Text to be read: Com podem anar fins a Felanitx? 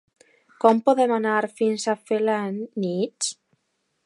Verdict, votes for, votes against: rejected, 1, 2